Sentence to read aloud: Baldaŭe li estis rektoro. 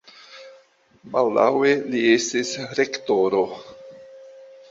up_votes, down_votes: 2, 0